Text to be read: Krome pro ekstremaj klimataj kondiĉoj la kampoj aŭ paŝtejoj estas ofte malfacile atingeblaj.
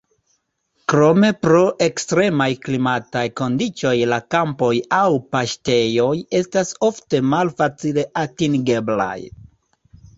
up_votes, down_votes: 1, 2